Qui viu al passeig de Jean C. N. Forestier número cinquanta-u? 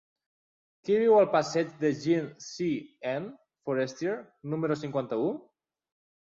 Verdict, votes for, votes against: rejected, 1, 2